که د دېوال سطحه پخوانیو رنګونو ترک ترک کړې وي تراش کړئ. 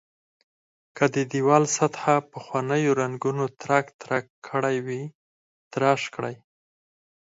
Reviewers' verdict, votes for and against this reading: rejected, 2, 4